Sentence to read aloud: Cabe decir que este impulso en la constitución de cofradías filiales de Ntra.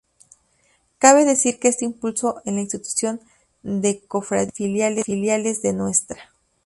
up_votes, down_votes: 0, 4